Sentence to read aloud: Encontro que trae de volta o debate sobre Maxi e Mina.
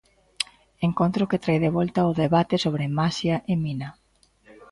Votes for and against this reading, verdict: 0, 2, rejected